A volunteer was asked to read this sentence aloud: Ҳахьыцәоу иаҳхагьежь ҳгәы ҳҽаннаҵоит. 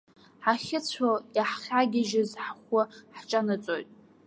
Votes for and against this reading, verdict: 0, 2, rejected